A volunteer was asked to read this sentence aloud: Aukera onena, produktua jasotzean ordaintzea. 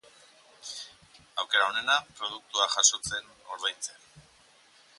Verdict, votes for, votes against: rejected, 2, 2